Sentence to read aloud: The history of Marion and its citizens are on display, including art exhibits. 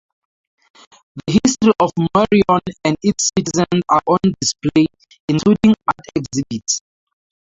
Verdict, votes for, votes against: rejected, 0, 4